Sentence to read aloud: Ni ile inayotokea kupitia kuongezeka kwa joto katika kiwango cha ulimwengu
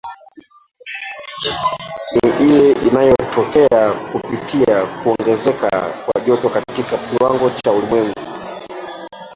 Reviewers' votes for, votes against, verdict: 0, 2, rejected